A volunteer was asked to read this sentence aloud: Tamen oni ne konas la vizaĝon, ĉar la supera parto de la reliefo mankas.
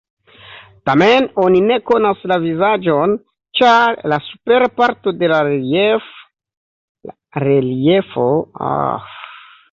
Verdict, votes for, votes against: rejected, 1, 2